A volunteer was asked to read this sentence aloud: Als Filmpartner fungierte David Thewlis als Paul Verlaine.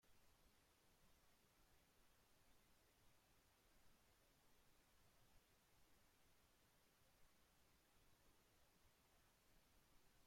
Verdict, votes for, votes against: rejected, 0, 2